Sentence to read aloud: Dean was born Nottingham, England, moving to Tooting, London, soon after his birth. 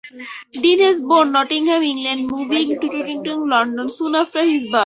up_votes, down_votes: 4, 2